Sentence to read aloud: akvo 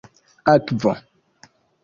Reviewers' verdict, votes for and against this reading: accepted, 2, 0